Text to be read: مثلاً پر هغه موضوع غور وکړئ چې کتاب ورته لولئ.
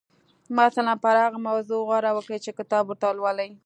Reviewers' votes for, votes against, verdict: 0, 2, rejected